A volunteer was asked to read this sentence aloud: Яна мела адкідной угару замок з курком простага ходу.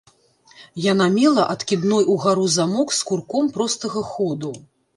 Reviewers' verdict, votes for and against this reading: accepted, 2, 0